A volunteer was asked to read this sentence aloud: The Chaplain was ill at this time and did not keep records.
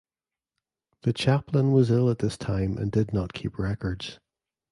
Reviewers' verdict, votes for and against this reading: accepted, 2, 0